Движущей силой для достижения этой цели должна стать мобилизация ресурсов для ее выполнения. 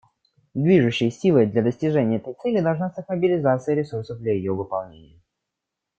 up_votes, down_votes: 0, 2